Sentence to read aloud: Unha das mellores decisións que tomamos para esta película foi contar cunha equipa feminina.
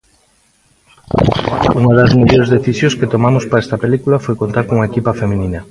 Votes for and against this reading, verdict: 1, 2, rejected